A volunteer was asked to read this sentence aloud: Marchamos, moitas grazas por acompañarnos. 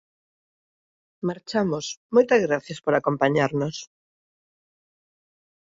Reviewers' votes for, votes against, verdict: 1, 2, rejected